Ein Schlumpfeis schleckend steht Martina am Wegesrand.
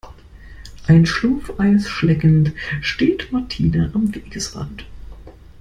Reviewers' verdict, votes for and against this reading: accepted, 2, 0